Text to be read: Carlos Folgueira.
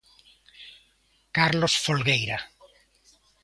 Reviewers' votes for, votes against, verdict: 2, 0, accepted